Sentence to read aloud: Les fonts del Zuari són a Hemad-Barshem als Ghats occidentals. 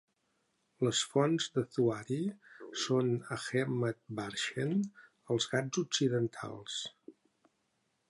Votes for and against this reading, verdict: 2, 0, accepted